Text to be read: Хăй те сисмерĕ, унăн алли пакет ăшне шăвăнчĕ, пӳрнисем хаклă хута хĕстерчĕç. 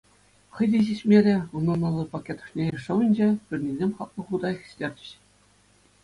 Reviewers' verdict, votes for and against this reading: accepted, 2, 0